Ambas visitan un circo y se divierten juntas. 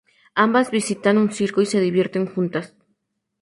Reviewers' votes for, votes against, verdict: 4, 0, accepted